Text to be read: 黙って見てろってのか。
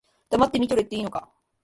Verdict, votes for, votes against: rejected, 2, 3